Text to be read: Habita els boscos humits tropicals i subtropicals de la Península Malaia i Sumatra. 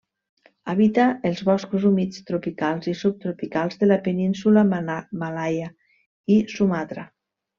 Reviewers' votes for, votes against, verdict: 1, 2, rejected